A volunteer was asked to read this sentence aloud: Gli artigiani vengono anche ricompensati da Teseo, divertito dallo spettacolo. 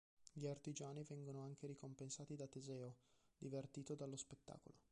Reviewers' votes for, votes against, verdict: 2, 0, accepted